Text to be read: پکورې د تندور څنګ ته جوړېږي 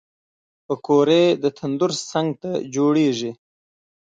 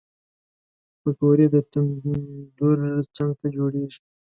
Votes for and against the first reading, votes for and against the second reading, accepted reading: 2, 0, 1, 2, first